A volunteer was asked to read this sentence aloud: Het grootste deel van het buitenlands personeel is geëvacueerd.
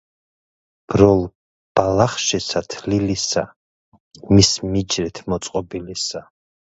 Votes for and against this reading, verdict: 0, 2, rejected